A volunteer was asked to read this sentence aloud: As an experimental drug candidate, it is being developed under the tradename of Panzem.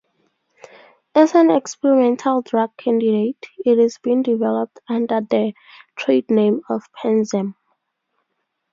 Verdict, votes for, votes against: rejected, 0, 2